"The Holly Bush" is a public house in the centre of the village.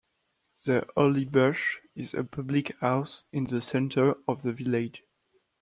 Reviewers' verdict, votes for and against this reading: accepted, 2, 0